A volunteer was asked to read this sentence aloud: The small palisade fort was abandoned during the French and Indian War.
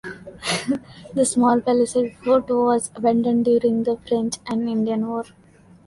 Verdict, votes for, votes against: rejected, 1, 2